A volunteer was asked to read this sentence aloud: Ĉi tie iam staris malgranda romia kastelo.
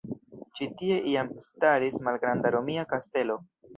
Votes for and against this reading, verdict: 0, 2, rejected